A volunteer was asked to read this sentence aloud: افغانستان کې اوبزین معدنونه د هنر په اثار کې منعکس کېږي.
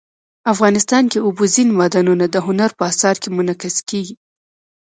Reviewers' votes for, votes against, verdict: 1, 2, rejected